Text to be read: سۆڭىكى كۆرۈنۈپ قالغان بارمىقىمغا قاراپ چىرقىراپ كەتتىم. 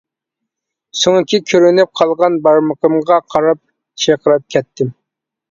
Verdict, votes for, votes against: accepted, 2, 0